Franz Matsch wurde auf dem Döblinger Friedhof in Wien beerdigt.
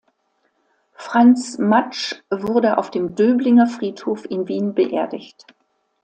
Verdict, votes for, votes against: accepted, 2, 0